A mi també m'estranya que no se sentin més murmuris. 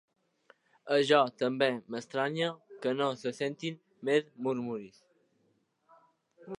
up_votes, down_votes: 1, 2